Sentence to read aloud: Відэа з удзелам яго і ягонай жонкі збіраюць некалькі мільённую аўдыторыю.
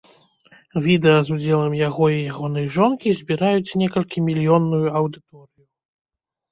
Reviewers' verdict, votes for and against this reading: rejected, 0, 2